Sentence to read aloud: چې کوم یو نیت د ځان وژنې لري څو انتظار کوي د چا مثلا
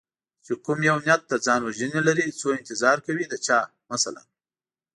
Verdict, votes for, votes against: accepted, 2, 0